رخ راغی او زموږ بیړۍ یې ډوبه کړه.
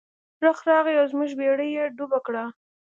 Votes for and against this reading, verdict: 2, 0, accepted